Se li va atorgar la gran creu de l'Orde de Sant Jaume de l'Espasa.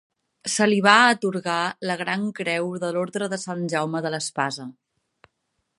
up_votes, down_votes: 4, 1